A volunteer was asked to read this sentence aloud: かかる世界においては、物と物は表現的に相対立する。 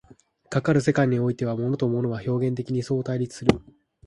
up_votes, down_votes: 2, 1